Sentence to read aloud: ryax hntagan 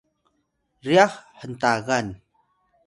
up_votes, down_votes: 0, 2